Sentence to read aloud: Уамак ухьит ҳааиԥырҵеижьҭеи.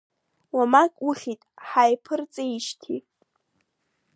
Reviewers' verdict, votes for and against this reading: rejected, 0, 2